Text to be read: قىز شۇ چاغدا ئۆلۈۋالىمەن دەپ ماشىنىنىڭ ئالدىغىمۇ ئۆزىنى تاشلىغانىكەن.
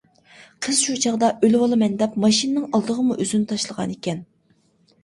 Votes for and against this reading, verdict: 2, 0, accepted